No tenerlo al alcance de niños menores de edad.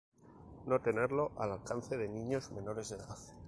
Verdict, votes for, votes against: accepted, 4, 0